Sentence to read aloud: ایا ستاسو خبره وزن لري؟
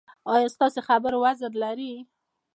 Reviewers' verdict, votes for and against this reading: accepted, 2, 0